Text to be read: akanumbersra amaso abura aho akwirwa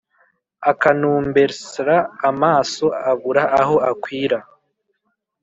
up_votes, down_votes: 2, 3